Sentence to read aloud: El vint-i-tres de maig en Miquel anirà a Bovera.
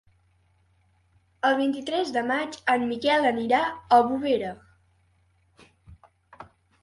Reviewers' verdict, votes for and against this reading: accepted, 3, 0